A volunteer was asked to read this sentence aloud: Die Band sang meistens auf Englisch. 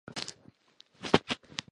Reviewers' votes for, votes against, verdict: 0, 2, rejected